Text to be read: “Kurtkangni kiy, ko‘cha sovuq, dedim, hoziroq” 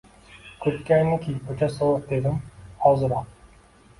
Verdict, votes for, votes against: rejected, 1, 2